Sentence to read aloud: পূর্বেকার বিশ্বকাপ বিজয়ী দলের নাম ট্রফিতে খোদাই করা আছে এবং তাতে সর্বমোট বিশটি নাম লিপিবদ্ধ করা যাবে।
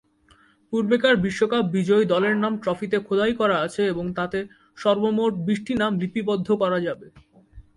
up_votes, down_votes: 2, 0